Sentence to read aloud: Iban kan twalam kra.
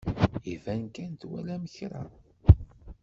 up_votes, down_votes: 1, 2